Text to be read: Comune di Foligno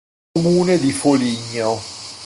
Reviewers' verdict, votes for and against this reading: rejected, 1, 2